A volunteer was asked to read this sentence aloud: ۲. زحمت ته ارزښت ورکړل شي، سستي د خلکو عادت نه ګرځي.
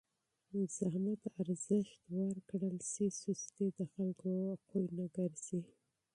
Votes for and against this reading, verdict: 0, 2, rejected